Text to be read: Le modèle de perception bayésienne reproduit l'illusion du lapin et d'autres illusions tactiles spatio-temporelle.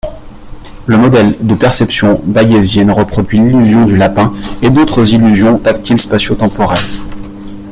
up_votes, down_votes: 2, 1